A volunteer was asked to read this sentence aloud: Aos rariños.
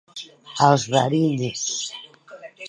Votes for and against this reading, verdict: 1, 2, rejected